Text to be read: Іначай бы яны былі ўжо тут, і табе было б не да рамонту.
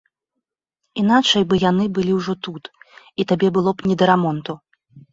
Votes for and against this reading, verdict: 3, 0, accepted